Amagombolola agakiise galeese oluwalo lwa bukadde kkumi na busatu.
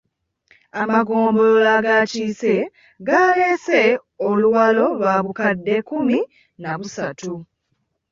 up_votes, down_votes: 2, 1